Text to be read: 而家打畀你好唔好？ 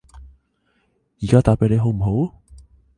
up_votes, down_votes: 2, 0